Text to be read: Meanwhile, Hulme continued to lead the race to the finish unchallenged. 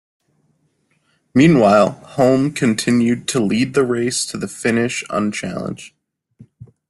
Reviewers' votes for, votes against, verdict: 2, 0, accepted